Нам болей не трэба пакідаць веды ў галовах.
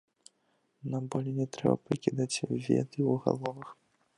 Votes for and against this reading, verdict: 1, 2, rejected